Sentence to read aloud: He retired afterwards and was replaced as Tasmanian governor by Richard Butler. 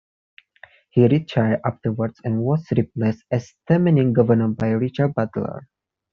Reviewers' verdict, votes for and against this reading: accepted, 2, 1